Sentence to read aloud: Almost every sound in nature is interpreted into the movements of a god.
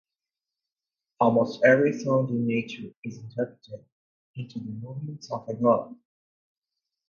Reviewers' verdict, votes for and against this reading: accepted, 2, 0